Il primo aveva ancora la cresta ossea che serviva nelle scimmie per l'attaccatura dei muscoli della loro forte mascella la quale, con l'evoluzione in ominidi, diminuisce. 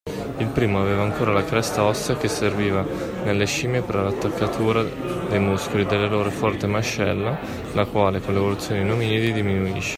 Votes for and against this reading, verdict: 2, 1, accepted